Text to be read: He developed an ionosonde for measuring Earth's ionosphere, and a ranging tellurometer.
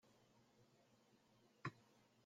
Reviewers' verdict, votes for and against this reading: rejected, 0, 2